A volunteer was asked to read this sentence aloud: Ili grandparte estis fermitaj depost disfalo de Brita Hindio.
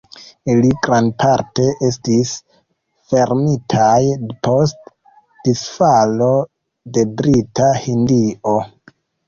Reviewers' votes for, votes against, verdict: 2, 1, accepted